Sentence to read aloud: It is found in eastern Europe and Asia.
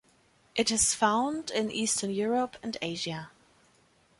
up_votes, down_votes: 2, 0